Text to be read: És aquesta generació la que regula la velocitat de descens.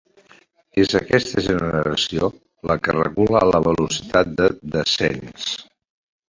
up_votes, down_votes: 0, 2